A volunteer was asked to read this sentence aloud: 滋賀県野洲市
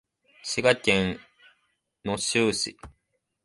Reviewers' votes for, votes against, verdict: 3, 5, rejected